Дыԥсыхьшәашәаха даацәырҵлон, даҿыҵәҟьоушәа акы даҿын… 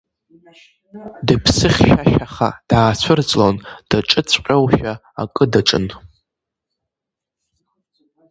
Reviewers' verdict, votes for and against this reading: rejected, 1, 2